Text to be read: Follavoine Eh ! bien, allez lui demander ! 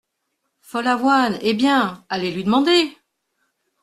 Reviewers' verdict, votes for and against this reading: accepted, 2, 0